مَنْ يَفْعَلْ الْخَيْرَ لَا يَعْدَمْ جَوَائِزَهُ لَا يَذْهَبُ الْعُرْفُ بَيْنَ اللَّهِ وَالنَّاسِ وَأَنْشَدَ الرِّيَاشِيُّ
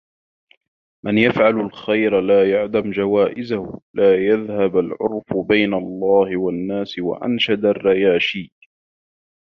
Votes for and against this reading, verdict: 2, 1, accepted